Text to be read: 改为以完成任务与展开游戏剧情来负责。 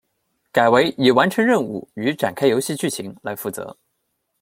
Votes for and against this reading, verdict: 2, 0, accepted